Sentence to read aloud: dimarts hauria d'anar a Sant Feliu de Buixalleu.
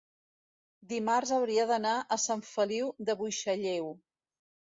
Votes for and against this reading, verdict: 2, 0, accepted